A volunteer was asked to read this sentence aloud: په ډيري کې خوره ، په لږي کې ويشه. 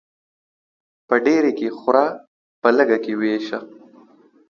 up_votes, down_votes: 2, 1